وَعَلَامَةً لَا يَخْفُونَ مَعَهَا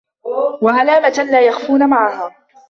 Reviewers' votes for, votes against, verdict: 0, 2, rejected